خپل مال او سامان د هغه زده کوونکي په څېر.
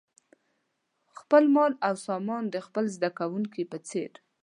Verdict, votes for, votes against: rejected, 0, 2